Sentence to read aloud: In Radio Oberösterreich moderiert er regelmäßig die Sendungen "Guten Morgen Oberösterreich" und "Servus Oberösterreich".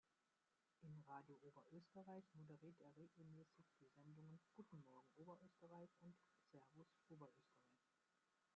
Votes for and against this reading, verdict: 0, 2, rejected